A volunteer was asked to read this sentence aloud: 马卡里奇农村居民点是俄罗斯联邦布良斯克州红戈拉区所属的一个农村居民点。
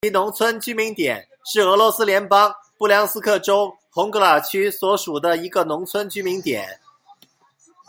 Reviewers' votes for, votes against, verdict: 1, 2, rejected